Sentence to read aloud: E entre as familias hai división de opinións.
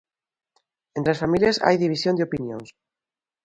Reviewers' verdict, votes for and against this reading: rejected, 0, 2